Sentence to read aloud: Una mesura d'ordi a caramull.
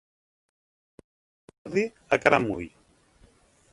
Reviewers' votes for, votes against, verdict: 0, 2, rejected